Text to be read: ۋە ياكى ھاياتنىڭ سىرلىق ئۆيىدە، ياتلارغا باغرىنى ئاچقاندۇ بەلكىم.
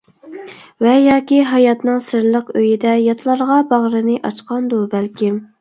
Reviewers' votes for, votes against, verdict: 2, 0, accepted